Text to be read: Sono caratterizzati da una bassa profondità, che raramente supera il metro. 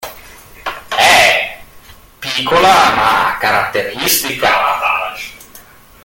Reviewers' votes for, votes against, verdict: 0, 2, rejected